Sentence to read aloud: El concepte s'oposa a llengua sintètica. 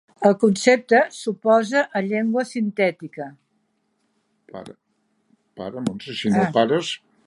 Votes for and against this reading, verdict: 0, 2, rejected